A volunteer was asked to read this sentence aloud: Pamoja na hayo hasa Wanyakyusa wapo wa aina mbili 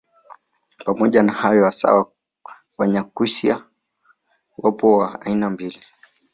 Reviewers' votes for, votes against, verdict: 1, 2, rejected